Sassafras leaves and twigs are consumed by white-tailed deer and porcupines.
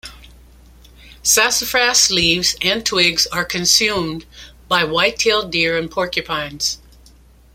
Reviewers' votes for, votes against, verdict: 2, 0, accepted